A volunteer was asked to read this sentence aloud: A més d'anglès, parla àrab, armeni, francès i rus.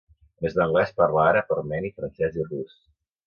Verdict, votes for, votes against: rejected, 2, 3